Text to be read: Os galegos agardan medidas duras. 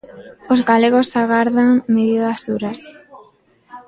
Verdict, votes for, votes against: accepted, 2, 0